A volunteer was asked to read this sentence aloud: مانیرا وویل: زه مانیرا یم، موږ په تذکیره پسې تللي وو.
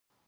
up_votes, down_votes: 0, 2